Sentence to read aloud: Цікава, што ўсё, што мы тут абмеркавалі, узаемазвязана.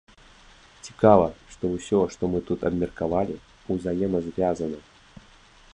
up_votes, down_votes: 2, 0